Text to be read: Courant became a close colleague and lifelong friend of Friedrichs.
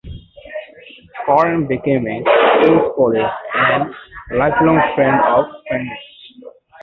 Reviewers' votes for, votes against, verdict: 0, 2, rejected